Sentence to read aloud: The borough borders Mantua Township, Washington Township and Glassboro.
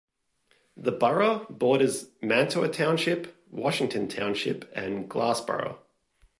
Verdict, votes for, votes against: accepted, 2, 0